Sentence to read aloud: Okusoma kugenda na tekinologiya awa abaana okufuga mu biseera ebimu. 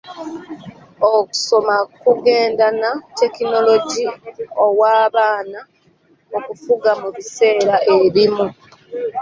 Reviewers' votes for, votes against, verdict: 0, 2, rejected